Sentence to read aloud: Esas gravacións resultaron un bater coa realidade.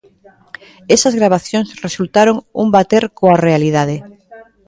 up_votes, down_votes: 1, 2